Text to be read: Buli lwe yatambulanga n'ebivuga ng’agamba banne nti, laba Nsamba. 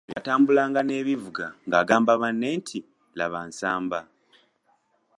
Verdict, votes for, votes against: rejected, 0, 2